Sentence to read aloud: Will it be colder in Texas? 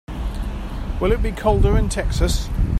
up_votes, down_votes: 3, 0